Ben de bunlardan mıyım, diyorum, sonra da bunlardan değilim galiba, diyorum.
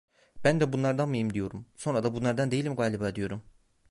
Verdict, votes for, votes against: accepted, 2, 0